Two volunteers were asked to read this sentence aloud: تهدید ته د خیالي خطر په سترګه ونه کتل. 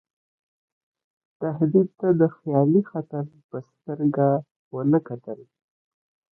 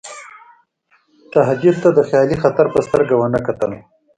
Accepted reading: second